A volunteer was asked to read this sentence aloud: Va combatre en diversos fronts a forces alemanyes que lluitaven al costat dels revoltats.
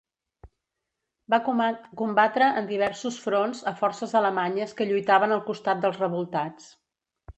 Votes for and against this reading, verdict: 1, 2, rejected